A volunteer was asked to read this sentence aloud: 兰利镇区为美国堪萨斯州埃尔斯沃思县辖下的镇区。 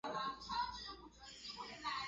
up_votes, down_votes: 0, 2